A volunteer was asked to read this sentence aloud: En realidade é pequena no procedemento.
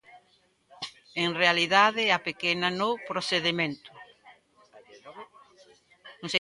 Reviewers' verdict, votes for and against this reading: rejected, 0, 2